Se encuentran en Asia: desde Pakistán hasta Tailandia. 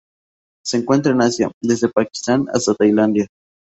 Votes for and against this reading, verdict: 2, 0, accepted